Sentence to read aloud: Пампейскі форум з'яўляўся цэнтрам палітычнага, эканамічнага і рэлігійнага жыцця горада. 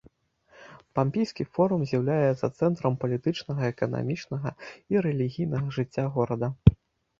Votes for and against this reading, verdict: 1, 2, rejected